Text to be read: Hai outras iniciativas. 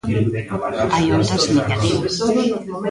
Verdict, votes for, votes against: rejected, 0, 2